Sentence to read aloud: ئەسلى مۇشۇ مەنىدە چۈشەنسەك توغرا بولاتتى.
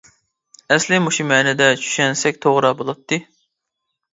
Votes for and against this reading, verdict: 2, 0, accepted